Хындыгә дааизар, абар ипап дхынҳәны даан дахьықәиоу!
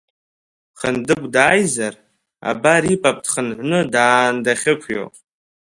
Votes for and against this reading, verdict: 0, 2, rejected